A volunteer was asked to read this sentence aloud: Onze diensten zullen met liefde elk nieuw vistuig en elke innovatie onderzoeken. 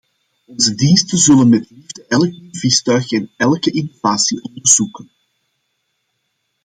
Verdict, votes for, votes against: rejected, 0, 2